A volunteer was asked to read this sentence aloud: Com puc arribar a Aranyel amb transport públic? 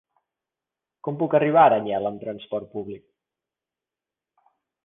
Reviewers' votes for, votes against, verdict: 3, 0, accepted